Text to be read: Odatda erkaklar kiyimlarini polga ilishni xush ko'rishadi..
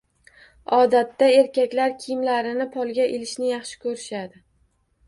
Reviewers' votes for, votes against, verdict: 1, 2, rejected